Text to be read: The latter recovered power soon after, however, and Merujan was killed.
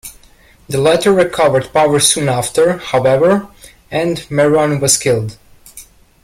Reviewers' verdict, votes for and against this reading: rejected, 1, 2